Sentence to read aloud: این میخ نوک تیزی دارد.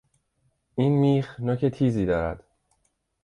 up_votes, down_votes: 2, 0